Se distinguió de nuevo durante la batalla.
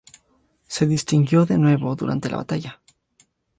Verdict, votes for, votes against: accepted, 2, 0